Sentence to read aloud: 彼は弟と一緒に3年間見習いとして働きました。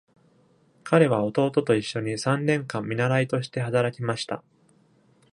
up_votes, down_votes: 0, 2